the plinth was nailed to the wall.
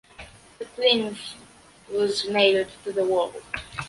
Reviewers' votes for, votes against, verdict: 2, 0, accepted